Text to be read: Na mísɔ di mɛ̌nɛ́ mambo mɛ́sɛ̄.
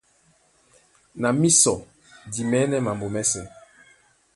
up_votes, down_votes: 2, 0